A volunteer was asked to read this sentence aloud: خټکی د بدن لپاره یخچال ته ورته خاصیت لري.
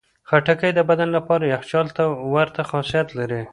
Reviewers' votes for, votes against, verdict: 2, 1, accepted